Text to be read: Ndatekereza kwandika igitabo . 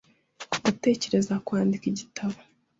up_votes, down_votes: 2, 0